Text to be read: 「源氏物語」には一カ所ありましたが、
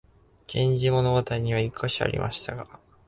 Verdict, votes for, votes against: accepted, 4, 0